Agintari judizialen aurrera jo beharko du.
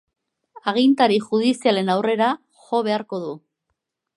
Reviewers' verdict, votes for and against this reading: accepted, 2, 0